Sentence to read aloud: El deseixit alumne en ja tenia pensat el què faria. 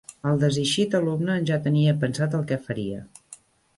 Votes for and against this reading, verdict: 2, 1, accepted